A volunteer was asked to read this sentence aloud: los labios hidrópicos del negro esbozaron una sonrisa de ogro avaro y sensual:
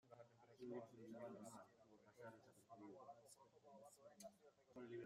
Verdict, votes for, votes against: rejected, 0, 2